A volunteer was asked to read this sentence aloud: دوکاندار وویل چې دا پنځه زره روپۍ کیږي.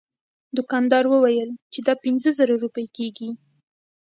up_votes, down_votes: 1, 2